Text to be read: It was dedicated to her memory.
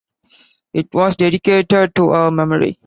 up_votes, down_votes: 2, 0